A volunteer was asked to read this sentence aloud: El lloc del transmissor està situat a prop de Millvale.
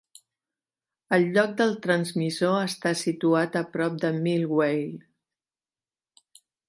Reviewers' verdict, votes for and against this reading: rejected, 0, 2